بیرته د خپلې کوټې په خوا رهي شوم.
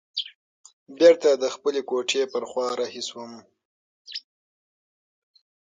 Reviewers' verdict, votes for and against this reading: accepted, 6, 0